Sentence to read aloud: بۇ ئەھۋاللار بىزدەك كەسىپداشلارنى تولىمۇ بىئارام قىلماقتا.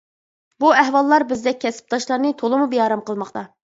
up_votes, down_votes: 2, 0